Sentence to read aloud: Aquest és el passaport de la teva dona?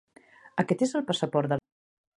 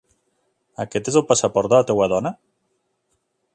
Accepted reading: second